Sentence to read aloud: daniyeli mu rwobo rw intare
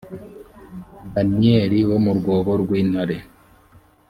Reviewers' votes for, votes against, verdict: 1, 2, rejected